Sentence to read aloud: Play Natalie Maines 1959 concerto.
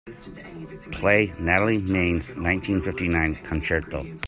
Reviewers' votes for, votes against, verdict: 0, 2, rejected